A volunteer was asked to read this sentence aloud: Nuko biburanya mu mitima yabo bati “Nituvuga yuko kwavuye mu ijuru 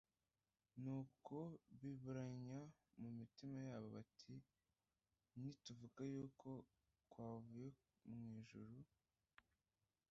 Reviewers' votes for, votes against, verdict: 1, 2, rejected